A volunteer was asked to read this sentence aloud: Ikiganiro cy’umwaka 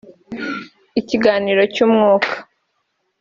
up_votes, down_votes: 0, 2